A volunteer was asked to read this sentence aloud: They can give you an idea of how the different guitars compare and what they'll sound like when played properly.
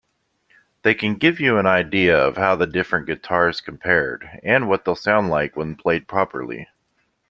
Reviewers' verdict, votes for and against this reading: rejected, 1, 2